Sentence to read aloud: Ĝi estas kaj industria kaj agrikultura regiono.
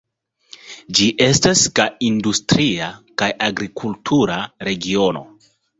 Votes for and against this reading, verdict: 2, 0, accepted